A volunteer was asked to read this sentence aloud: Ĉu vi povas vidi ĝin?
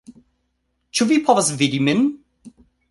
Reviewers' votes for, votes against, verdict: 1, 2, rejected